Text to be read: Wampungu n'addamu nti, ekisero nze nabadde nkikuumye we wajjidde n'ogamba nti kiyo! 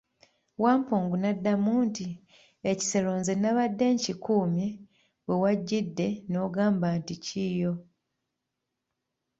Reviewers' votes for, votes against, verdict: 2, 0, accepted